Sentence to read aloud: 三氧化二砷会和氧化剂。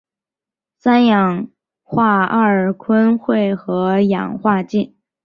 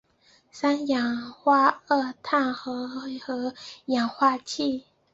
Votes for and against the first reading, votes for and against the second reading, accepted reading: 4, 1, 0, 2, first